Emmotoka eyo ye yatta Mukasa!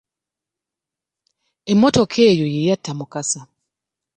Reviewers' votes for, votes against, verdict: 2, 0, accepted